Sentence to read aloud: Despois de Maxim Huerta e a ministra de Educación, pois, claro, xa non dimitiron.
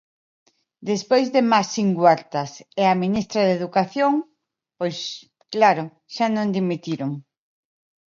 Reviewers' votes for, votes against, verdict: 0, 3, rejected